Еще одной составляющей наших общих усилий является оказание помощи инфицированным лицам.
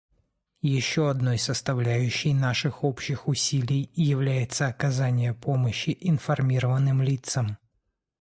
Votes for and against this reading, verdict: 1, 2, rejected